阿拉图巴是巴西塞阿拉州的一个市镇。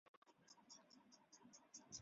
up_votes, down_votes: 0, 2